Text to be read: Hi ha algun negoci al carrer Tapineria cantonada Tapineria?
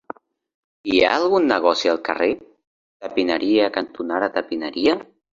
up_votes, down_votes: 3, 0